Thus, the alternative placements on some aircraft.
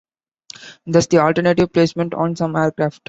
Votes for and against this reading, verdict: 1, 2, rejected